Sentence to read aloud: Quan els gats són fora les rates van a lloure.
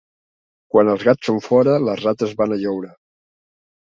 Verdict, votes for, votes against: accepted, 2, 0